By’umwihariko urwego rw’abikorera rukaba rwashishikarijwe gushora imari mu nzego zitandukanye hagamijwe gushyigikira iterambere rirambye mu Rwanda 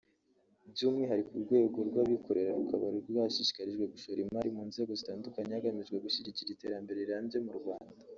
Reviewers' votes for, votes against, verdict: 1, 2, rejected